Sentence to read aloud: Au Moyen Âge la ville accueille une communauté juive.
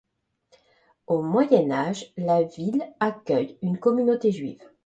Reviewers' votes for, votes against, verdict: 2, 0, accepted